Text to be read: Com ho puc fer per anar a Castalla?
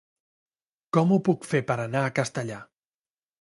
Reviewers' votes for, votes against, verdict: 1, 2, rejected